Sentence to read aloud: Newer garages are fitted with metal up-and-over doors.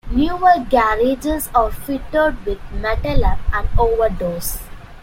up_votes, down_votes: 2, 0